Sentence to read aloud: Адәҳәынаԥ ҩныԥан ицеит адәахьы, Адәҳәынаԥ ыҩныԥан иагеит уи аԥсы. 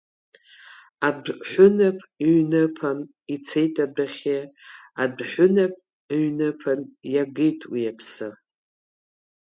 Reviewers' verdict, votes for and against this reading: accepted, 2, 0